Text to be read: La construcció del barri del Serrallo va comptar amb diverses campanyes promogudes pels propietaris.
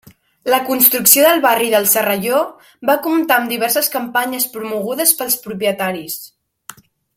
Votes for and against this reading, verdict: 0, 2, rejected